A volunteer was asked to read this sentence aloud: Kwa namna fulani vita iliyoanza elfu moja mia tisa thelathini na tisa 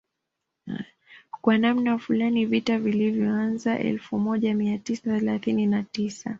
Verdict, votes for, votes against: rejected, 0, 2